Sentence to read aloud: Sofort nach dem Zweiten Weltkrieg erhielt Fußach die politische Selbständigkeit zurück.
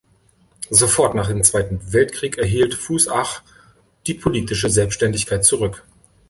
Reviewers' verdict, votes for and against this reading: accepted, 2, 0